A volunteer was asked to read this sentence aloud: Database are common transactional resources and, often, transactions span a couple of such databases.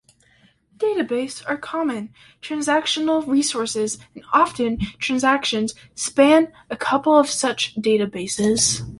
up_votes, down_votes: 2, 1